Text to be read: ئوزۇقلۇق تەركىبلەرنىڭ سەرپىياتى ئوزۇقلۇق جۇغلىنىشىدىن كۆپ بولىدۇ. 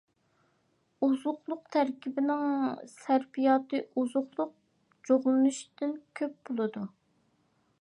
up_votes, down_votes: 0, 2